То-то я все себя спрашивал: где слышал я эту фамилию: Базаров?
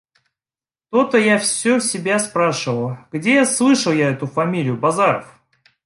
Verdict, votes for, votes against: accepted, 2, 0